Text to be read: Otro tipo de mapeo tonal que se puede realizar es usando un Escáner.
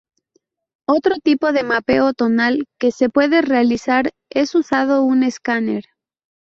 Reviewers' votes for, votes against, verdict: 0, 2, rejected